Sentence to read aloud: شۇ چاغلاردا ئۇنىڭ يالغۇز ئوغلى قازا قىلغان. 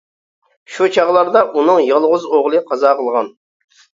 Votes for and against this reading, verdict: 2, 0, accepted